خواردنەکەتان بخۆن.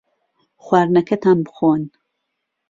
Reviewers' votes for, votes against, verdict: 2, 0, accepted